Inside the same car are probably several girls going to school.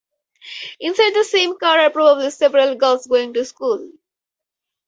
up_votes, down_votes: 0, 2